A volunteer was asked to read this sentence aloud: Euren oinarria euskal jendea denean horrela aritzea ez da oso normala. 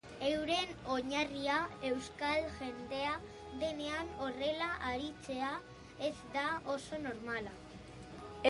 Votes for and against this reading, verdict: 2, 2, rejected